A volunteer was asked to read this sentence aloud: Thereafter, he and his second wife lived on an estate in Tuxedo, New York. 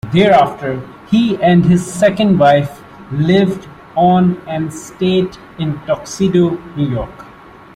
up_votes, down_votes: 0, 2